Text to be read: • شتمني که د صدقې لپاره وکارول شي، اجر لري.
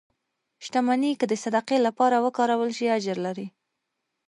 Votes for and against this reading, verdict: 3, 1, accepted